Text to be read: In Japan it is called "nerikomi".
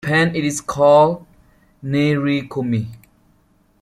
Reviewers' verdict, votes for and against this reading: accepted, 2, 1